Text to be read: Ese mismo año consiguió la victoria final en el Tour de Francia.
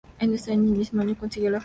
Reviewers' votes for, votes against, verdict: 0, 2, rejected